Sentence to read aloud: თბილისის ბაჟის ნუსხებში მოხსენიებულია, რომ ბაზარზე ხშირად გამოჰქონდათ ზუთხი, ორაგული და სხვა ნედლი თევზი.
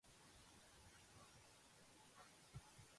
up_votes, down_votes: 1, 2